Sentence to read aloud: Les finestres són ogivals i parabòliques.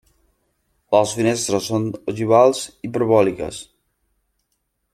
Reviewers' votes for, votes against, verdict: 0, 2, rejected